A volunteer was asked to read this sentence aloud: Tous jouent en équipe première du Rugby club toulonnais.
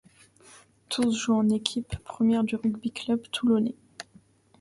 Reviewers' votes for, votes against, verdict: 2, 0, accepted